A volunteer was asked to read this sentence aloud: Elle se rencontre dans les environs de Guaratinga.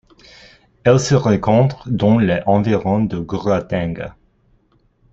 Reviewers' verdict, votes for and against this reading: rejected, 1, 2